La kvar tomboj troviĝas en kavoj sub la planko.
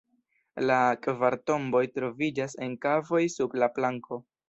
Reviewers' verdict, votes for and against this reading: accepted, 2, 0